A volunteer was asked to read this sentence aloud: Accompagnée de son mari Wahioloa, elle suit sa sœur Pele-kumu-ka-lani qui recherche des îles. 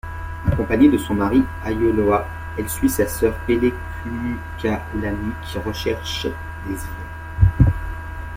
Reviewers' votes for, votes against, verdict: 1, 2, rejected